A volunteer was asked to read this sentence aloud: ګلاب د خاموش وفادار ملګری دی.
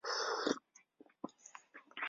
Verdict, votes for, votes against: rejected, 0, 2